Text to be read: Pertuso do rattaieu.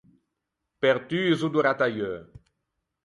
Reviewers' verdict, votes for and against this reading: accepted, 4, 0